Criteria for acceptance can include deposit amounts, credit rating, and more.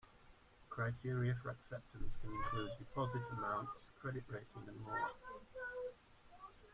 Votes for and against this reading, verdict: 0, 2, rejected